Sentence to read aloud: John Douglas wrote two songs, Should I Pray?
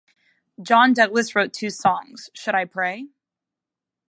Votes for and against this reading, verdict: 2, 0, accepted